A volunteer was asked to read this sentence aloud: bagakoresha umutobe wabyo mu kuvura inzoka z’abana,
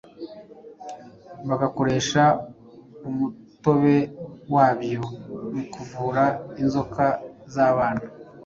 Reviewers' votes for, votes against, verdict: 2, 0, accepted